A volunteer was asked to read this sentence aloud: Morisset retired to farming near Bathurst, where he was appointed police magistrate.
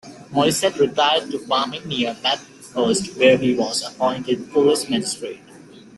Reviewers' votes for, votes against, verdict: 0, 2, rejected